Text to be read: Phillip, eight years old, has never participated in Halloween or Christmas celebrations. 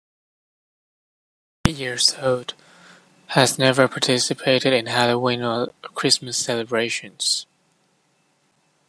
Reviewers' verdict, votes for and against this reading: rejected, 0, 2